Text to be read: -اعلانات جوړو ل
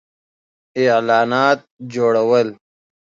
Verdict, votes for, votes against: accepted, 2, 0